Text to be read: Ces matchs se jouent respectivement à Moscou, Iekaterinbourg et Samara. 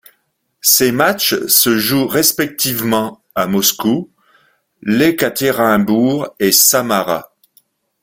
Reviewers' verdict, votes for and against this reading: rejected, 2, 3